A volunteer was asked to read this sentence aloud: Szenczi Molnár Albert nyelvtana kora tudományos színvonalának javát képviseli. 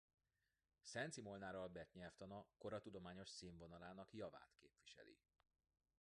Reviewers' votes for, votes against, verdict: 2, 1, accepted